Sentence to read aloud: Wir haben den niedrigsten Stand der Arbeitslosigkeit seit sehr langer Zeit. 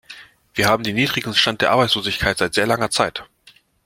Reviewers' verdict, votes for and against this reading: rejected, 1, 2